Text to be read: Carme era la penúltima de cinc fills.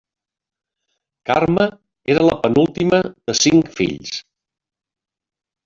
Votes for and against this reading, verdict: 1, 2, rejected